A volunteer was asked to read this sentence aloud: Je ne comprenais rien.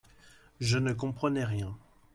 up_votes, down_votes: 2, 0